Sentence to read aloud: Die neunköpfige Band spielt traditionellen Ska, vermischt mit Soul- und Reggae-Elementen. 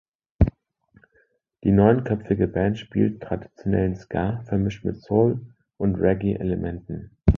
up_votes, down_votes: 2, 0